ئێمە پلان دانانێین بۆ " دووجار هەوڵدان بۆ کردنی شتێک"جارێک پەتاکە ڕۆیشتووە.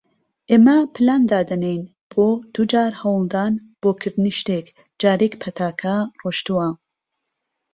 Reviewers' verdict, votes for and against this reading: rejected, 0, 2